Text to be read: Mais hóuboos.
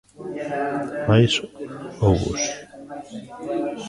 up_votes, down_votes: 2, 0